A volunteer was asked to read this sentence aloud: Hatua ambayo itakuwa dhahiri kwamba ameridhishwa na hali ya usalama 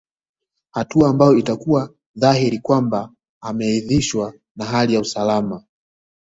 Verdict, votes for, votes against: accepted, 2, 0